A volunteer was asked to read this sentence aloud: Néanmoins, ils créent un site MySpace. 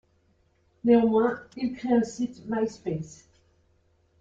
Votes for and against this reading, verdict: 1, 2, rejected